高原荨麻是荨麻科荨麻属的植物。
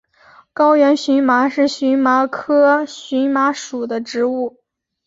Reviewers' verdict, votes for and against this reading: accepted, 3, 1